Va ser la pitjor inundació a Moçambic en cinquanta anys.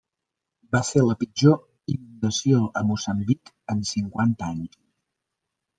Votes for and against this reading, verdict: 2, 1, accepted